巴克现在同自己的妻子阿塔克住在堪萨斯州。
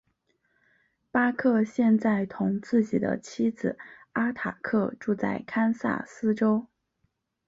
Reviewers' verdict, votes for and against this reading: accepted, 5, 0